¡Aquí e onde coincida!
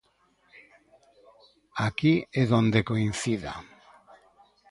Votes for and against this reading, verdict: 0, 2, rejected